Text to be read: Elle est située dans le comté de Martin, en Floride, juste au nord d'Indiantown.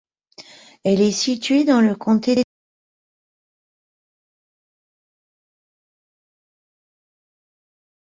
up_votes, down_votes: 0, 2